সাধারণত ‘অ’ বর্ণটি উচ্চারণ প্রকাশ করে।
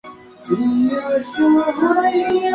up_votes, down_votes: 0, 4